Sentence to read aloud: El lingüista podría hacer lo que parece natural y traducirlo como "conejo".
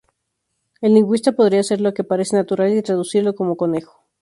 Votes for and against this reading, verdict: 2, 0, accepted